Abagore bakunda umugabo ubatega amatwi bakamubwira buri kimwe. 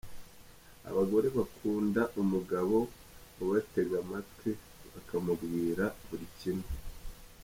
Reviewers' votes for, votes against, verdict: 3, 2, accepted